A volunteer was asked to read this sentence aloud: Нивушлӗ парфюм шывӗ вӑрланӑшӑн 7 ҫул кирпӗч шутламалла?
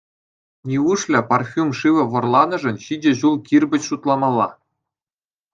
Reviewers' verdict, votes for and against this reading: rejected, 0, 2